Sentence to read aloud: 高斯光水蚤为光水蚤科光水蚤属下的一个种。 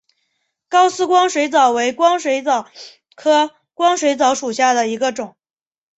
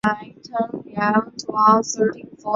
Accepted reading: first